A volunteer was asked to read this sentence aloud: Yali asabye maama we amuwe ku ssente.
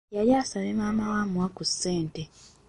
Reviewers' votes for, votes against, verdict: 1, 2, rejected